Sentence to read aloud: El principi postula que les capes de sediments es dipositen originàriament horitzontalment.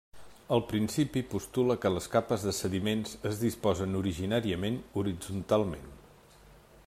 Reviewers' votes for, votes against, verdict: 0, 2, rejected